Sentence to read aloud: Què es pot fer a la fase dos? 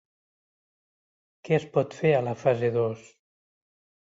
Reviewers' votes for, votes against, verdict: 2, 0, accepted